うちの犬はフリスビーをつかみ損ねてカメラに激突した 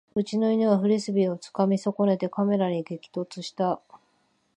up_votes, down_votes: 2, 0